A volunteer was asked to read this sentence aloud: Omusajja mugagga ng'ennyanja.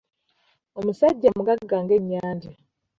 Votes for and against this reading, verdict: 2, 1, accepted